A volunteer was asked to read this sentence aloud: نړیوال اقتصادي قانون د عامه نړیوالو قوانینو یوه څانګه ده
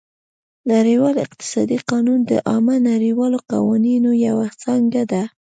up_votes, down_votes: 2, 0